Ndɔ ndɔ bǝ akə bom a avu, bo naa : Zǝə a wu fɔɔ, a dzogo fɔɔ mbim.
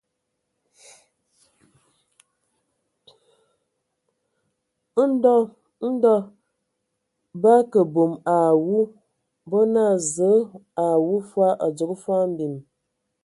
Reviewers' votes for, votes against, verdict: 0, 2, rejected